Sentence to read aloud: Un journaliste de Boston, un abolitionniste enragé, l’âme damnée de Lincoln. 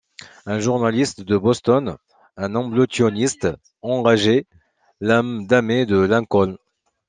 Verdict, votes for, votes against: rejected, 0, 2